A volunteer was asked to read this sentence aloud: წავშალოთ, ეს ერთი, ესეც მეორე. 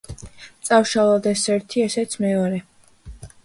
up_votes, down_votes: 2, 0